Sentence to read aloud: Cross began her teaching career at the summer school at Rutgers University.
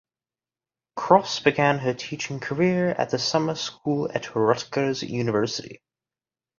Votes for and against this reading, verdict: 2, 0, accepted